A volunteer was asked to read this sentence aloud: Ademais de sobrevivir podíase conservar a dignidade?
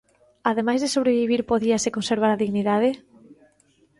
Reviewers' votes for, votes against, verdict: 2, 0, accepted